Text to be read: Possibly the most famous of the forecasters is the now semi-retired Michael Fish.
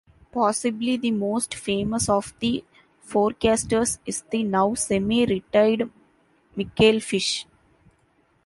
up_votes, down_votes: 2, 1